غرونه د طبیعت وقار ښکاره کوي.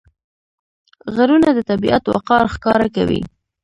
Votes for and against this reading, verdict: 1, 2, rejected